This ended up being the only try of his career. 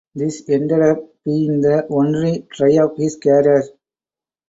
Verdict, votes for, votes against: accepted, 4, 0